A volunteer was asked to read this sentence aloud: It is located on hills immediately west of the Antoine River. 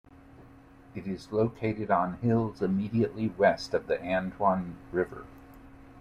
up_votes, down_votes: 2, 0